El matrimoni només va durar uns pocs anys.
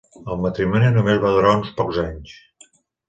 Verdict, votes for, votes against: accepted, 2, 0